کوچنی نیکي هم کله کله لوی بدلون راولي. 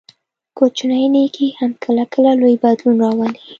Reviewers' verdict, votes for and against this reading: accepted, 2, 0